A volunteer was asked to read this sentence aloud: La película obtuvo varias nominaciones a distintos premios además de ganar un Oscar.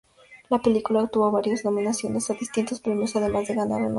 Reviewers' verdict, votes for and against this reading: accepted, 4, 0